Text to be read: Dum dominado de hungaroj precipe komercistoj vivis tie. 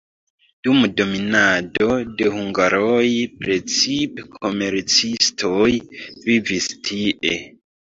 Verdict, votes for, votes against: rejected, 0, 2